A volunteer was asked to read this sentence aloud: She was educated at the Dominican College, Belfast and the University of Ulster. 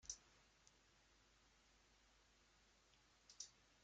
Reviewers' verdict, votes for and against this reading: rejected, 0, 3